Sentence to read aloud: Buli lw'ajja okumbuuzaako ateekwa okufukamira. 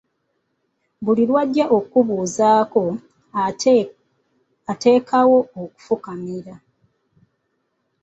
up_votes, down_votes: 0, 2